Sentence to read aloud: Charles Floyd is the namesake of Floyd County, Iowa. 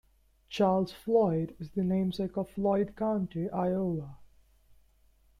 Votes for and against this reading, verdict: 2, 0, accepted